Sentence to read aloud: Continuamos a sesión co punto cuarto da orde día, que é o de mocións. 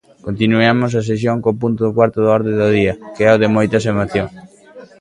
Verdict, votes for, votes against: rejected, 0, 2